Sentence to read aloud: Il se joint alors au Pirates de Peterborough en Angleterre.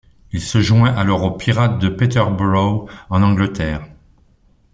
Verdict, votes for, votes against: accepted, 2, 0